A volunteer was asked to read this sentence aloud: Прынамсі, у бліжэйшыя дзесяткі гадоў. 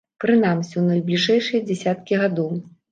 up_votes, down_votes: 0, 2